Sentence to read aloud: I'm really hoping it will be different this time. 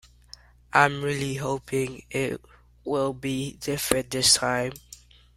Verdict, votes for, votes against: accepted, 2, 0